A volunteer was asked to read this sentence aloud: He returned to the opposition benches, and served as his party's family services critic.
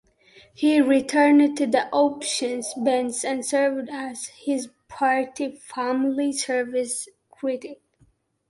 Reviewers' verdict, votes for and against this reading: rejected, 0, 2